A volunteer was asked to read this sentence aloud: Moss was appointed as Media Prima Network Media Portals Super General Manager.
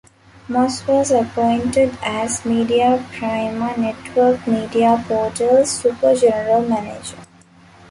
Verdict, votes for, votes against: rejected, 1, 2